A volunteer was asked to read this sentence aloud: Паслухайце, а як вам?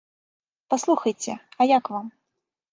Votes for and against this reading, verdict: 1, 2, rejected